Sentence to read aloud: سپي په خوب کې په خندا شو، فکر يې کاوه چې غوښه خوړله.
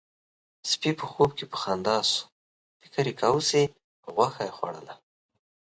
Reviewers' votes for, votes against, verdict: 2, 0, accepted